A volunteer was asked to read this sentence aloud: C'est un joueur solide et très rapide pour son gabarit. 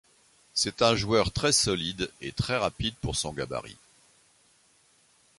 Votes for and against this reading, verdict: 1, 2, rejected